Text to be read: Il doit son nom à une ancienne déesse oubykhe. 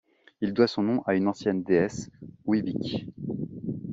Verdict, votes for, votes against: rejected, 0, 2